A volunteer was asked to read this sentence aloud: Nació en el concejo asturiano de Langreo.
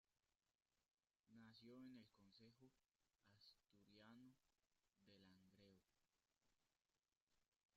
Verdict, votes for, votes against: rejected, 0, 4